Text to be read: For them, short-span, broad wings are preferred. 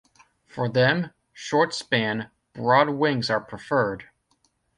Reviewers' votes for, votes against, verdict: 2, 0, accepted